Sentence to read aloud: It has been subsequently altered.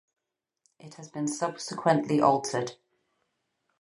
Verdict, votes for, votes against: rejected, 0, 4